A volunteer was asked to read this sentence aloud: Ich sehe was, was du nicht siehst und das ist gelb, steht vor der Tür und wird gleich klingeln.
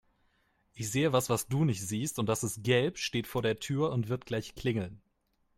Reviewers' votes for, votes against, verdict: 2, 0, accepted